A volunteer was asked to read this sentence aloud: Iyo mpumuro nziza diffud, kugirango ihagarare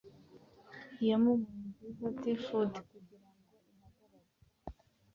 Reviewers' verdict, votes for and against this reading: rejected, 1, 2